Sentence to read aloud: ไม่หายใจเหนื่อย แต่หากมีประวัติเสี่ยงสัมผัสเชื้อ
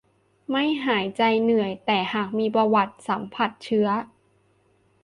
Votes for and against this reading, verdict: 0, 2, rejected